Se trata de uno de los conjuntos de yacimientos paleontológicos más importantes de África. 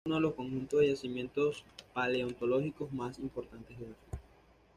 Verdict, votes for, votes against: accepted, 2, 0